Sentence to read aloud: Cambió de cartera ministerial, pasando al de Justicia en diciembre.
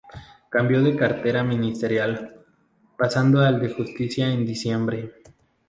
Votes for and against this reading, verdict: 2, 0, accepted